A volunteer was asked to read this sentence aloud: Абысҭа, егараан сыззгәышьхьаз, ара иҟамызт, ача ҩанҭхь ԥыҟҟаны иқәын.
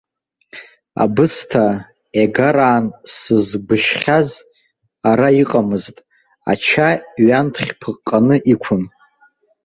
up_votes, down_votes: 0, 2